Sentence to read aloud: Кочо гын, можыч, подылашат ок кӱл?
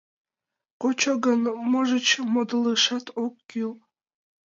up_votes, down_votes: 0, 2